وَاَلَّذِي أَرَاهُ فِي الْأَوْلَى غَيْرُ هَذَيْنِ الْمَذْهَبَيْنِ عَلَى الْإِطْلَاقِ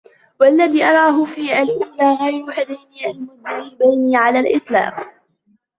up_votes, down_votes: 2, 1